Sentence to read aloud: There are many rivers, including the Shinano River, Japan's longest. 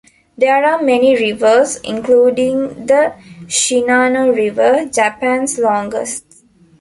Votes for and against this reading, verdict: 2, 1, accepted